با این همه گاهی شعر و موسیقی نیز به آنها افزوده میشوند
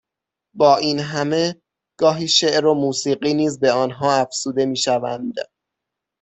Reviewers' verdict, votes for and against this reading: accepted, 6, 0